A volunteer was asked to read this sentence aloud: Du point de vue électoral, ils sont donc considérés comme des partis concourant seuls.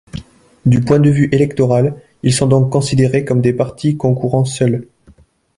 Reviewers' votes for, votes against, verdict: 2, 0, accepted